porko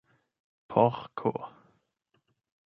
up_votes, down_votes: 0, 8